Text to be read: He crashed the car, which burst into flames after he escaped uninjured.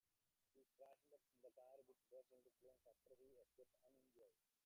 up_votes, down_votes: 0, 2